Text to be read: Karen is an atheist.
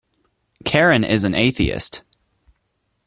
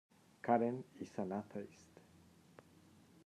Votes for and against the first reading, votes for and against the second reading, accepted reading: 2, 0, 1, 2, first